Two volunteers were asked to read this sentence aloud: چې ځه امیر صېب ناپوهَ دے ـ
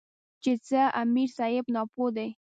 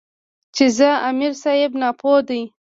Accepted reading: first